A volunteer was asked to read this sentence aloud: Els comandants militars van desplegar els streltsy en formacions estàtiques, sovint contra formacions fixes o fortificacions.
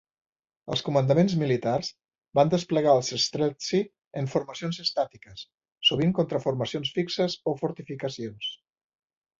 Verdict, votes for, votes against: rejected, 1, 3